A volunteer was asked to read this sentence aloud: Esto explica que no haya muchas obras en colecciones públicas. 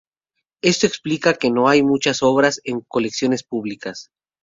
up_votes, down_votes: 2, 0